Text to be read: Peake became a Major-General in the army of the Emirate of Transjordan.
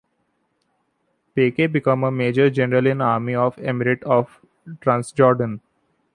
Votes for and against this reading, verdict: 0, 2, rejected